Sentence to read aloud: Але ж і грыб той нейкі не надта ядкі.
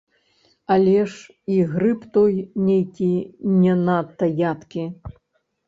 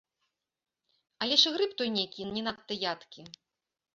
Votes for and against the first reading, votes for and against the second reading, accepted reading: 1, 3, 2, 0, second